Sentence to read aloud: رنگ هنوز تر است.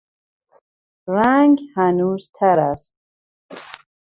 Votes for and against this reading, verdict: 2, 0, accepted